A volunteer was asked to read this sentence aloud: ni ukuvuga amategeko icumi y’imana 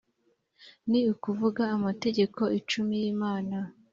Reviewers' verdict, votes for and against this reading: accepted, 2, 0